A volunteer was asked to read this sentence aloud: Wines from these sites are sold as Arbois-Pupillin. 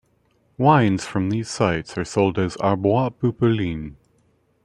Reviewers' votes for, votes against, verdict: 3, 0, accepted